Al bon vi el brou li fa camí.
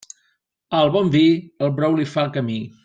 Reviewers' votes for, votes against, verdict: 2, 0, accepted